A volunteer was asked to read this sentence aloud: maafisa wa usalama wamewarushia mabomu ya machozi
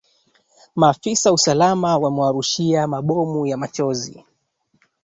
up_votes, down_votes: 1, 2